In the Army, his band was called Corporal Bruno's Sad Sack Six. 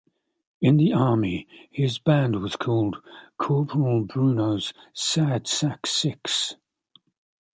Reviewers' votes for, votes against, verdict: 2, 0, accepted